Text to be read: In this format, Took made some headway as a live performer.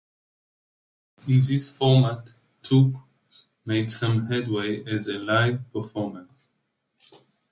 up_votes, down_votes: 2, 0